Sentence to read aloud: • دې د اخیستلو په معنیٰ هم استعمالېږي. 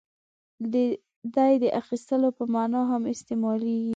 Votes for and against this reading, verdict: 1, 2, rejected